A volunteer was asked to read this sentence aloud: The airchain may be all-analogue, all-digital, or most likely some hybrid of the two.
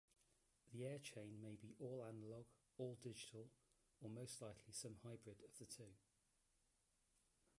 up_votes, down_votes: 2, 0